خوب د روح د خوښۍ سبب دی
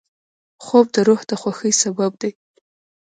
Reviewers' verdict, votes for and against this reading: rejected, 1, 2